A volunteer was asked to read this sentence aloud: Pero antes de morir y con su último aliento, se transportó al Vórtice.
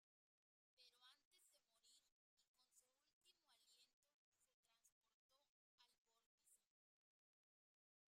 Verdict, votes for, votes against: rejected, 0, 2